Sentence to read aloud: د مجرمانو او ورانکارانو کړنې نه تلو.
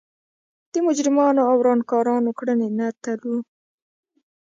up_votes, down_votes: 0, 2